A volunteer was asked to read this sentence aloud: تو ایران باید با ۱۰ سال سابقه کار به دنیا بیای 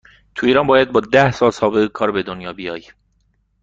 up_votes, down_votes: 0, 2